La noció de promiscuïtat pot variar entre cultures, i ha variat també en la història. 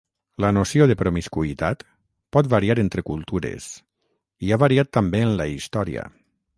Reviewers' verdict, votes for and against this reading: accepted, 6, 0